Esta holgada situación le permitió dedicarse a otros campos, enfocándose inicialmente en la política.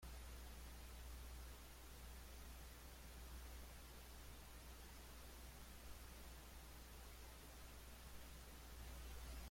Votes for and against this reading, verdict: 0, 2, rejected